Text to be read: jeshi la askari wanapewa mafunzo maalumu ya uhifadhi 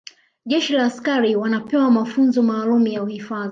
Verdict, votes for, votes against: accepted, 2, 1